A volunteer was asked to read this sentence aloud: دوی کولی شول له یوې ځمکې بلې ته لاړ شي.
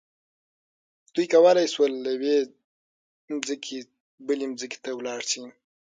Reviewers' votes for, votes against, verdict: 6, 0, accepted